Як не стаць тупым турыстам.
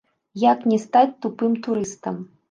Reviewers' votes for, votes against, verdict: 1, 2, rejected